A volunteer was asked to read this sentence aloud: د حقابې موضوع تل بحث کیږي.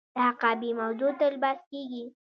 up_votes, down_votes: 2, 0